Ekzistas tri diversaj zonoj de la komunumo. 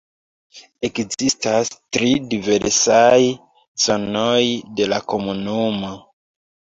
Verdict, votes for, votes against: rejected, 0, 2